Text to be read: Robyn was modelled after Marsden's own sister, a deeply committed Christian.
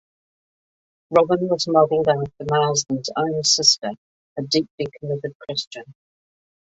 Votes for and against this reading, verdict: 1, 2, rejected